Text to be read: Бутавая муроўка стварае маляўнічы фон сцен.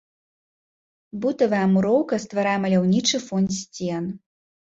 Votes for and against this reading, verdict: 2, 1, accepted